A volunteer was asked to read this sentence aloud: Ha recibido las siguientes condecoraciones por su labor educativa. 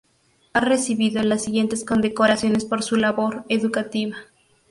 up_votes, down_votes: 4, 0